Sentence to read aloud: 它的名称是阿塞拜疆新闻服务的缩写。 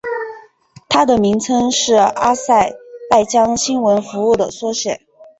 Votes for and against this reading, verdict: 5, 0, accepted